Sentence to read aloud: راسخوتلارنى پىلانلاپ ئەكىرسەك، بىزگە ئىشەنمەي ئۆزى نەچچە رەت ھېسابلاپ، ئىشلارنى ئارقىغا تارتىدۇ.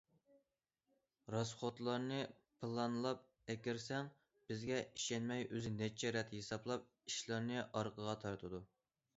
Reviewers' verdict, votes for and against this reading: rejected, 0, 2